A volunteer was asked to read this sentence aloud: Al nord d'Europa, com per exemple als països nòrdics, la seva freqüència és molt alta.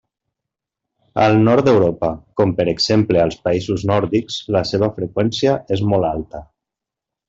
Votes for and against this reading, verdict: 3, 1, accepted